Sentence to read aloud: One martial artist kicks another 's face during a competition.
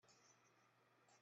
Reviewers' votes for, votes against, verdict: 0, 2, rejected